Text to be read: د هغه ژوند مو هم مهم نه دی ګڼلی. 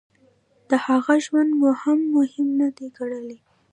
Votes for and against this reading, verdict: 1, 2, rejected